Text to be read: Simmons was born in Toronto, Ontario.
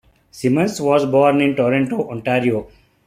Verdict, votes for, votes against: accepted, 2, 0